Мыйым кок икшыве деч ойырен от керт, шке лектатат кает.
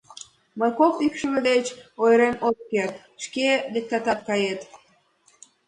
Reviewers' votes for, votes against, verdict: 2, 0, accepted